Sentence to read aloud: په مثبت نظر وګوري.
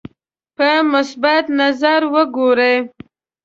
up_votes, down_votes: 2, 0